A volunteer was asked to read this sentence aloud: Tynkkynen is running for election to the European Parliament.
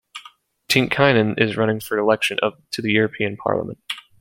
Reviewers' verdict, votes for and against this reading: rejected, 1, 2